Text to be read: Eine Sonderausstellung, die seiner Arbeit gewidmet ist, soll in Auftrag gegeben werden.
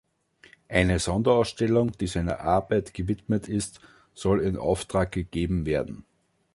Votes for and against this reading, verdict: 3, 0, accepted